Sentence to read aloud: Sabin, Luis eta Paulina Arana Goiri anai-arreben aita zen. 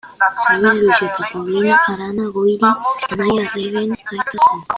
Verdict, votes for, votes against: rejected, 0, 2